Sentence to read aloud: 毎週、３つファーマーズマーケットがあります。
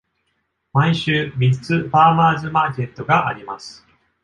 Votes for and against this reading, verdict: 0, 2, rejected